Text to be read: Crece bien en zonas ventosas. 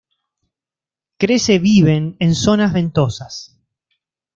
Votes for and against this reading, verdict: 0, 2, rejected